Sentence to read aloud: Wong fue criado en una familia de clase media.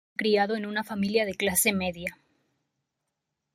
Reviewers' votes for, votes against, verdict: 1, 2, rejected